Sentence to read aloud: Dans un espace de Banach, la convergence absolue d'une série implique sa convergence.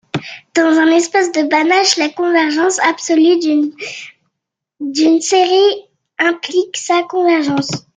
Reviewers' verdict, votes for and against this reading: rejected, 0, 2